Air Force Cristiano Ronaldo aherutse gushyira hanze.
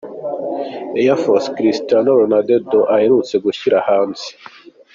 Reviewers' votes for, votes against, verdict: 3, 2, accepted